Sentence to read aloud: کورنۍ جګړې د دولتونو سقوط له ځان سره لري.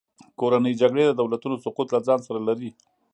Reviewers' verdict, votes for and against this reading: accepted, 2, 0